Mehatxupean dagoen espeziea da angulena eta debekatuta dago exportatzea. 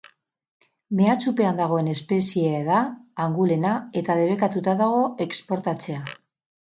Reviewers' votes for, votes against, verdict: 2, 0, accepted